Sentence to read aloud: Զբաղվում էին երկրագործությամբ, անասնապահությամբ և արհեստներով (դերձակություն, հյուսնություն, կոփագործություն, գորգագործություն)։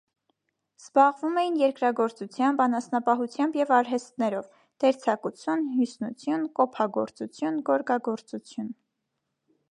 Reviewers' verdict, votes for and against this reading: accepted, 2, 0